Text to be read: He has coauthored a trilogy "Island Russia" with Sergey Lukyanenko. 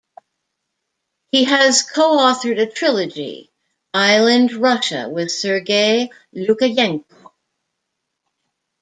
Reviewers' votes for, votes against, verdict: 1, 2, rejected